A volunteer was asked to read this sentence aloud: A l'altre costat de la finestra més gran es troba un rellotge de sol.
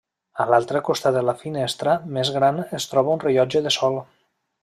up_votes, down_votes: 3, 0